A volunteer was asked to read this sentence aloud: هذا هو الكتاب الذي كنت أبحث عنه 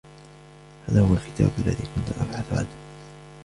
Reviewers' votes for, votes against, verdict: 0, 2, rejected